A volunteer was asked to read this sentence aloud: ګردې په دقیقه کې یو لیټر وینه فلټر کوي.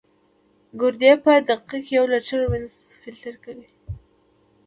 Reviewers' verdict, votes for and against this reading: rejected, 1, 2